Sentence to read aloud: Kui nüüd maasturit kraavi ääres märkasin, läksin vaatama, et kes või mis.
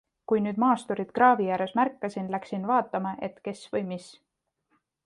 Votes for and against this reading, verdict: 2, 0, accepted